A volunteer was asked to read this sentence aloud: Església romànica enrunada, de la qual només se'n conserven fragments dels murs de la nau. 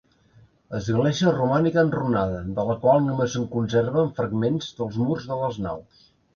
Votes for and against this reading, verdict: 1, 2, rejected